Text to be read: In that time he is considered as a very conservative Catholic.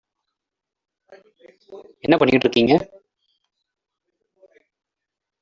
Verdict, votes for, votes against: rejected, 0, 2